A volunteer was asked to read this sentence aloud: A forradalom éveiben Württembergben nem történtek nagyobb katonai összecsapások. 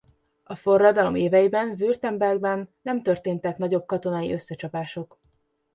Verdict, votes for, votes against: accepted, 2, 0